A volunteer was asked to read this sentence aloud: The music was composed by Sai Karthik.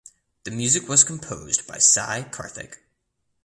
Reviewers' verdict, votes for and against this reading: accepted, 2, 0